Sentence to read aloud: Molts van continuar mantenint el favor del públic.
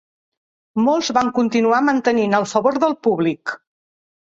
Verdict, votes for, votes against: accepted, 2, 0